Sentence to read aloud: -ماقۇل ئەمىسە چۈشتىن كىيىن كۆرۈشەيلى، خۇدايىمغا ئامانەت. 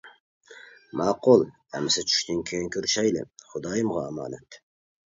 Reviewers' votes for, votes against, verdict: 2, 0, accepted